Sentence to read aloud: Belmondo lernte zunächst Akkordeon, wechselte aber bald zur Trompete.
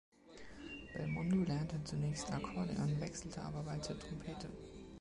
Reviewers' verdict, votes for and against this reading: accepted, 2, 0